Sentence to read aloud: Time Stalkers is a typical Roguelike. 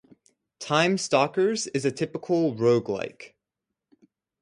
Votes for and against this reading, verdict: 4, 0, accepted